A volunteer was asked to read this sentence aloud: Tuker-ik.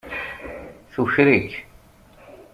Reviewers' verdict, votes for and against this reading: accepted, 2, 0